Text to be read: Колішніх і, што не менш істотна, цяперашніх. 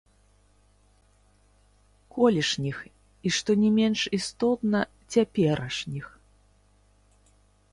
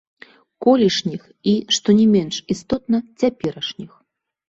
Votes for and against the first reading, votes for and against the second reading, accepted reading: 0, 3, 2, 0, second